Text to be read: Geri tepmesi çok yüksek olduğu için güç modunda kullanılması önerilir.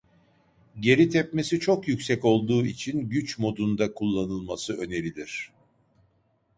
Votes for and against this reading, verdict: 2, 0, accepted